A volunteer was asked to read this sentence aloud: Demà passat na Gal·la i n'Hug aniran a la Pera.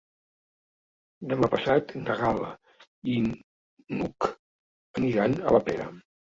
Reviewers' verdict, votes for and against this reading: rejected, 1, 2